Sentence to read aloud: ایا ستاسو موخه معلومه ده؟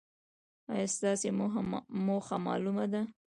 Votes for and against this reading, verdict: 0, 2, rejected